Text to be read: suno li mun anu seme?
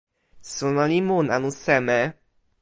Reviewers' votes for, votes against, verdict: 2, 0, accepted